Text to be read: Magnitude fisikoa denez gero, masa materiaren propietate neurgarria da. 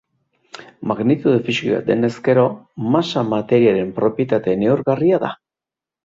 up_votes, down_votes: 2, 1